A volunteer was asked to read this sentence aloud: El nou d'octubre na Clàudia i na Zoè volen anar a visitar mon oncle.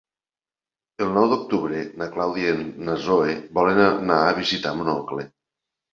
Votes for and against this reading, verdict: 3, 0, accepted